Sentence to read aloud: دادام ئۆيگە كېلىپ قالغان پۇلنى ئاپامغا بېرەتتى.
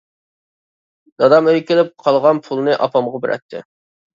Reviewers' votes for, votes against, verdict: 2, 0, accepted